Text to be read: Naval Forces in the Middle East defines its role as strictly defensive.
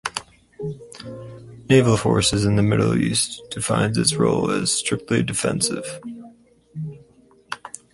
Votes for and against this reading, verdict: 2, 0, accepted